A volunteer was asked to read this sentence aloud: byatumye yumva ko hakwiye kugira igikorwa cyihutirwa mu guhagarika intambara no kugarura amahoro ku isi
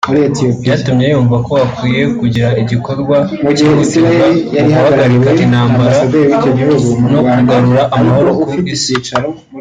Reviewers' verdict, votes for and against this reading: rejected, 1, 2